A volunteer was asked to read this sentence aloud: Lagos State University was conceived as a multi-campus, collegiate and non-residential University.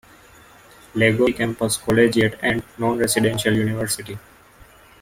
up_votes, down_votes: 0, 2